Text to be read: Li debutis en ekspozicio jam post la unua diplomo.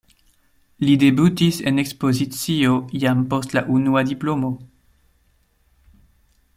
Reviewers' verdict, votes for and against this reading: accepted, 2, 0